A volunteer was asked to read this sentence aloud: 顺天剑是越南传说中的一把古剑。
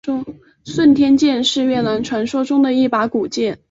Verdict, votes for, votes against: accepted, 2, 0